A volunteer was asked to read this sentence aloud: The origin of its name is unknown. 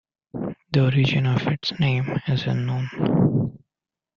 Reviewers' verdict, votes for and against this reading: accepted, 2, 0